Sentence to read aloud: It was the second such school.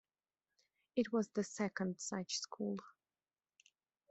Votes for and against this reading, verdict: 0, 2, rejected